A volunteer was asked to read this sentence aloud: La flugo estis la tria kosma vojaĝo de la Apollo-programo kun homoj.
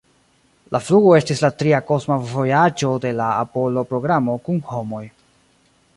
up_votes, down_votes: 2, 1